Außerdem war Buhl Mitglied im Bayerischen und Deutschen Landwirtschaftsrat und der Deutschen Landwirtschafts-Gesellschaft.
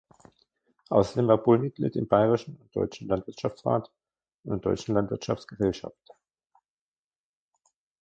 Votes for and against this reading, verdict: 1, 2, rejected